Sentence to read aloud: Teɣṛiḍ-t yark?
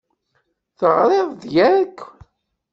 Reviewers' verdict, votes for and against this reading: rejected, 1, 2